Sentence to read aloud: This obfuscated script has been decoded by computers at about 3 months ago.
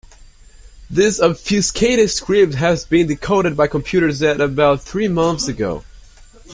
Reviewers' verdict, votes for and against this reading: rejected, 0, 2